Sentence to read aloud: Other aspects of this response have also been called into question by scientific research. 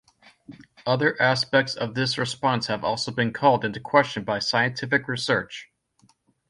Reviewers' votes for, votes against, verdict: 2, 0, accepted